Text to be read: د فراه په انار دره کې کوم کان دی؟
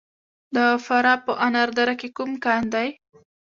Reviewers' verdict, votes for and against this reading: accepted, 2, 0